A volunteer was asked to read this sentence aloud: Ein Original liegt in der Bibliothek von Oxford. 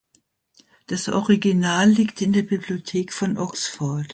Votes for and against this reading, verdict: 0, 2, rejected